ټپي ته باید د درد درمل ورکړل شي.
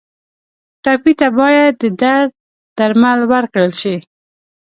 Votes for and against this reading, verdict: 2, 0, accepted